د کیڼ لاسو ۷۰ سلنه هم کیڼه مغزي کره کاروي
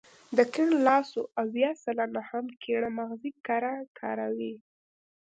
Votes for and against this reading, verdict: 0, 2, rejected